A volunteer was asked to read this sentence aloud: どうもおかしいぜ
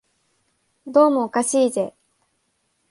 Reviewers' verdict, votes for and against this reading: accepted, 2, 0